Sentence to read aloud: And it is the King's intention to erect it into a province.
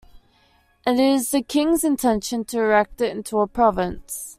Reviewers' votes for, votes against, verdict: 2, 0, accepted